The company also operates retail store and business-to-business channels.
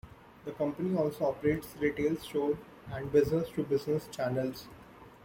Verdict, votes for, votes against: accepted, 2, 0